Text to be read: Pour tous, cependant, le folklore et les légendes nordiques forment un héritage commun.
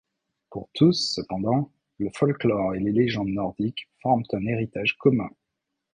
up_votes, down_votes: 2, 0